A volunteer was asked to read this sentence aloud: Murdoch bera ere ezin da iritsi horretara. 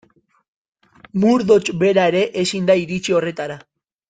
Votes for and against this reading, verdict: 2, 0, accepted